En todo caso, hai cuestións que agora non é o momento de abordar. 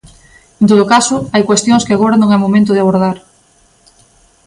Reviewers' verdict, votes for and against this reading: accepted, 2, 0